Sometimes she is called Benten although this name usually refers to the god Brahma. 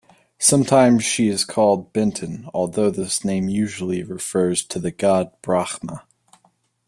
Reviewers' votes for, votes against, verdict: 2, 0, accepted